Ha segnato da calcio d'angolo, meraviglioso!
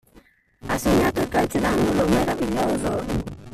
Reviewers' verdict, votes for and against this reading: rejected, 1, 2